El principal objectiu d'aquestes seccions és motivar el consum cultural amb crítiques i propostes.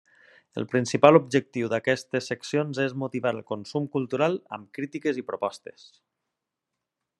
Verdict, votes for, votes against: accepted, 3, 0